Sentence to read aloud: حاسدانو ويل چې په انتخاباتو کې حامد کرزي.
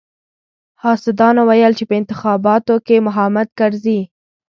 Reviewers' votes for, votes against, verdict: 1, 2, rejected